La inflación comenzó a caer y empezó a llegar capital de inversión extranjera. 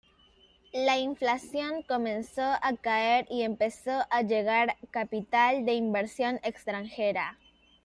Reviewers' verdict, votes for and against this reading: accepted, 2, 0